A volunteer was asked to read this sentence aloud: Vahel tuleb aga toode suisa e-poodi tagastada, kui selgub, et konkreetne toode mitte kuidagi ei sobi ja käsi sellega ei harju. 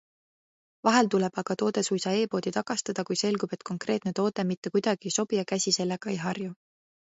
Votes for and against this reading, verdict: 2, 0, accepted